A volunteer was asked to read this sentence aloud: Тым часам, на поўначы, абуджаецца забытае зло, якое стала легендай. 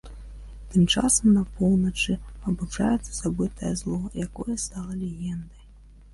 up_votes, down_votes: 1, 2